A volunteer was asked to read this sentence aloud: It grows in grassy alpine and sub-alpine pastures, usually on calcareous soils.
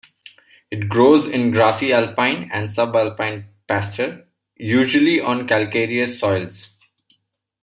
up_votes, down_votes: 0, 2